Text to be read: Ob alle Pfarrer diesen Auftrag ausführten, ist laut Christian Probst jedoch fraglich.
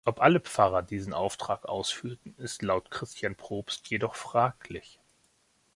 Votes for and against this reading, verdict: 2, 0, accepted